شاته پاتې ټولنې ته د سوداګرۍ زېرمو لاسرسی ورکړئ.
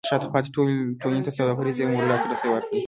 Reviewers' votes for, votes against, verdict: 0, 2, rejected